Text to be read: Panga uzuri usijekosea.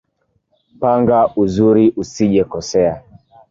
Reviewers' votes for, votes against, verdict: 2, 0, accepted